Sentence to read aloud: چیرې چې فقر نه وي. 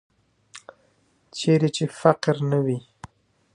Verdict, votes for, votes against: rejected, 0, 2